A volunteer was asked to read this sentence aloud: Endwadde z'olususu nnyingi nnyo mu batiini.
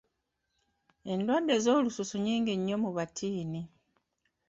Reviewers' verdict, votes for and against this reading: accepted, 2, 0